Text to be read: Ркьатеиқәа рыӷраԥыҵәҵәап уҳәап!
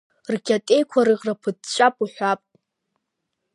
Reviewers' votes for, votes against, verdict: 2, 1, accepted